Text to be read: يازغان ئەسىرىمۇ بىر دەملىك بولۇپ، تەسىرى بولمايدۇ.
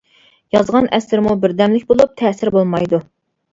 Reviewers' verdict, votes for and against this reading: accepted, 2, 0